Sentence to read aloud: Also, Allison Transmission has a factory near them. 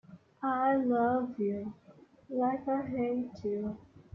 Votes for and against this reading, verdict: 0, 2, rejected